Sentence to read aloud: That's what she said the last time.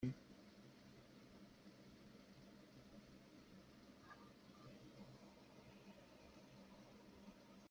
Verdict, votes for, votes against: rejected, 0, 3